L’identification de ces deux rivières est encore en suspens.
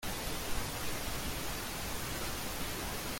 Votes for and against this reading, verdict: 0, 2, rejected